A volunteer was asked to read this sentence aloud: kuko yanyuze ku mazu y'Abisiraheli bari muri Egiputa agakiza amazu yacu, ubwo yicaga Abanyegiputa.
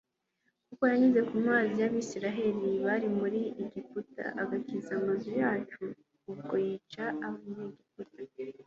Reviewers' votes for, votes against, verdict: 0, 2, rejected